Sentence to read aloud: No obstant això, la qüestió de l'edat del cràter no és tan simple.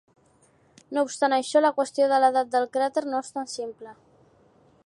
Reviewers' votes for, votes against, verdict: 2, 0, accepted